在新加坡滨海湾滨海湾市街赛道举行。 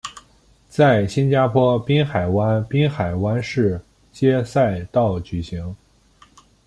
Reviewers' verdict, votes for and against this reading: accepted, 2, 0